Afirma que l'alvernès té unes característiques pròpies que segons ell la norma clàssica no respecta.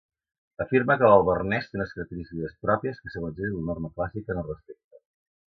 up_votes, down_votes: 1, 2